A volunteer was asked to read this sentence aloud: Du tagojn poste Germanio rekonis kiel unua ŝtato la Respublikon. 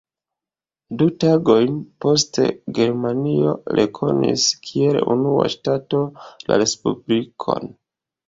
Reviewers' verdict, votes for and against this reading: rejected, 1, 2